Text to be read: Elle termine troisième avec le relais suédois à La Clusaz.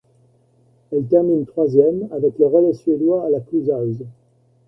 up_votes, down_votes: 1, 2